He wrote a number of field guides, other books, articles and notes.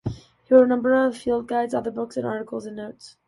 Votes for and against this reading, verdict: 2, 1, accepted